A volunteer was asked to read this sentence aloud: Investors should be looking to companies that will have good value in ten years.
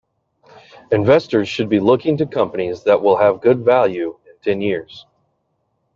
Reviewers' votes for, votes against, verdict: 2, 0, accepted